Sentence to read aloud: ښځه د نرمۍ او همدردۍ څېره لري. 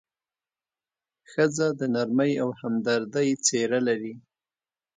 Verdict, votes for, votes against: accepted, 2, 0